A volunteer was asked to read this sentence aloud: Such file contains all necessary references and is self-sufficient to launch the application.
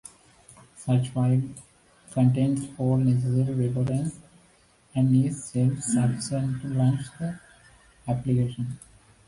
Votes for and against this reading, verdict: 2, 1, accepted